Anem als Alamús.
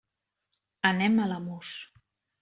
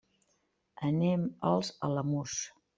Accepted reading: second